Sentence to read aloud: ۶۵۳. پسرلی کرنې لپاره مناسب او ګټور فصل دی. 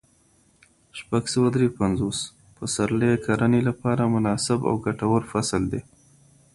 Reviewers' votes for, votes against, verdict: 0, 2, rejected